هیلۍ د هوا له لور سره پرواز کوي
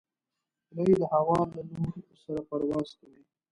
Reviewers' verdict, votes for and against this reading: rejected, 1, 2